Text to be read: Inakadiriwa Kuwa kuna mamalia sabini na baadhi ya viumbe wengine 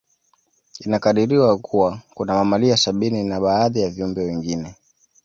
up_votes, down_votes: 2, 0